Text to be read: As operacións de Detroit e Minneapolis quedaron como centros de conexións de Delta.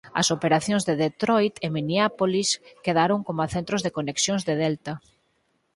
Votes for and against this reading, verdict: 2, 4, rejected